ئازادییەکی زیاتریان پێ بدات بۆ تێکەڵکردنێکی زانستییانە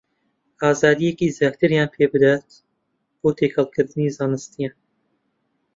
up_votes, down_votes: 0, 2